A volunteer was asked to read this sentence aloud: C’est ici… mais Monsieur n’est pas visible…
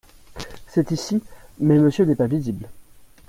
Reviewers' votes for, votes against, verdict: 2, 0, accepted